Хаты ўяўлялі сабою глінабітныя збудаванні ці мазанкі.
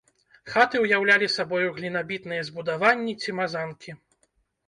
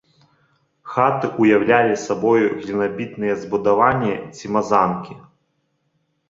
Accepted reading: second